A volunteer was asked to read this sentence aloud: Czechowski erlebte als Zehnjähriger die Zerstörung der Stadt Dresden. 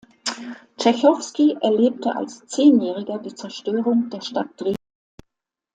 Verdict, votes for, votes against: rejected, 0, 2